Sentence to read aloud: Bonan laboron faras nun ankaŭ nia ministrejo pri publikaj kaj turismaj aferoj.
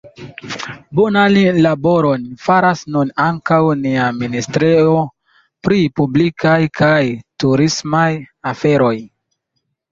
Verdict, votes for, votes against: rejected, 0, 3